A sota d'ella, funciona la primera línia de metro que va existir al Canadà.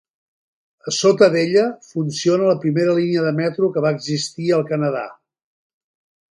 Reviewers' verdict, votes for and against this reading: accepted, 3, 0